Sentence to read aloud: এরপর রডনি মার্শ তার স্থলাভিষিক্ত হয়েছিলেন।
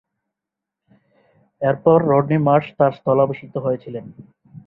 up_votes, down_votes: 2, 2